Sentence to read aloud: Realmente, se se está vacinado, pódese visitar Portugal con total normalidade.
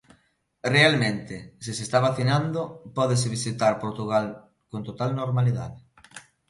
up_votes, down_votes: 0, 2